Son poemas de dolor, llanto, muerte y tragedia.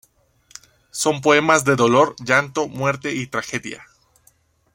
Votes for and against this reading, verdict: 2, 0, accepted